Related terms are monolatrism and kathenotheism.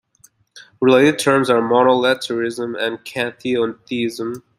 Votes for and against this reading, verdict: 2, 0, accepted